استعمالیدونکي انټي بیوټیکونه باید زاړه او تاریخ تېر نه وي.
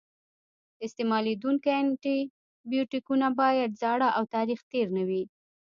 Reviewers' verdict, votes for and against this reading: rejected, 1, 2